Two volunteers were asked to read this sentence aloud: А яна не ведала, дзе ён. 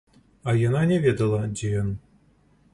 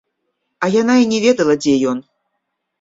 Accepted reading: first